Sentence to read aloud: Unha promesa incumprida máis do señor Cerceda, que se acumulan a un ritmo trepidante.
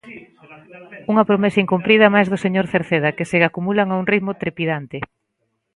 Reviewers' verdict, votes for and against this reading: rejected, 0, 2